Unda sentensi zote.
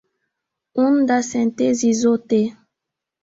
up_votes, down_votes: 1, 2